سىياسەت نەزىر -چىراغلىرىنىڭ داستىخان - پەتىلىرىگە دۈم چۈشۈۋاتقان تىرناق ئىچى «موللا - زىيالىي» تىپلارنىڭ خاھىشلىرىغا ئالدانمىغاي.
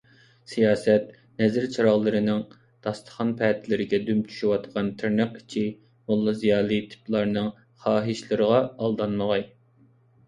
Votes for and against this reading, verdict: 2, 0, accepted